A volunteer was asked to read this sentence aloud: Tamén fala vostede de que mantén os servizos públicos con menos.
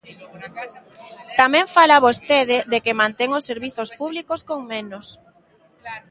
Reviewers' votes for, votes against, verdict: 0, 2, rejected